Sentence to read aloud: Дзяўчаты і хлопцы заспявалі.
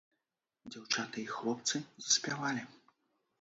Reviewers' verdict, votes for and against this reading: accepted, 2, 0